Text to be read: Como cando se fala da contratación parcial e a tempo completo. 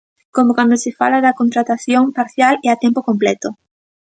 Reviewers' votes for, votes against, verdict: 2, 0, accepted